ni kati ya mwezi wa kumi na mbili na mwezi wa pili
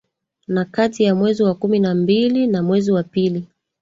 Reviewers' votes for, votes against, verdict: 2, 3, rejected